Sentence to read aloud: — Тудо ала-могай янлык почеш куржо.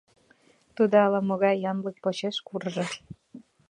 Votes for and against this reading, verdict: 2, 0, accepted